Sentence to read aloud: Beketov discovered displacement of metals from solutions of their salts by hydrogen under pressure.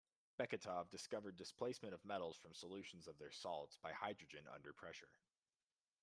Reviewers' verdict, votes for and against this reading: accepted, 2, 1